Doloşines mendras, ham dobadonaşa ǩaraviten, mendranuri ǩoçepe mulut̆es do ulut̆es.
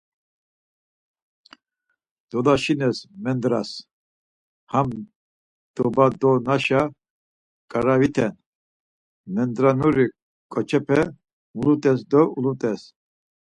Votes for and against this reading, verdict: 4, 0, accepted